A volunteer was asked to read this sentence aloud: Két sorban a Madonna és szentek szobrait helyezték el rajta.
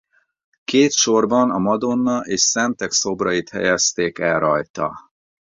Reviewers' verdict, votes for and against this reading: accepted, 4, 0